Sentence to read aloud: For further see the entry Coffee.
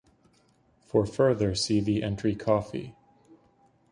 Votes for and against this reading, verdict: 2, 0, accepted